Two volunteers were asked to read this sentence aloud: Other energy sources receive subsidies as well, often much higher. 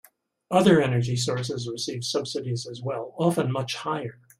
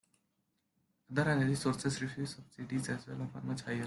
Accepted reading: first